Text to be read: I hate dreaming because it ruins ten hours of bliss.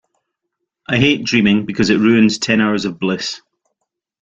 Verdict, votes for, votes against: accepted, 2, 0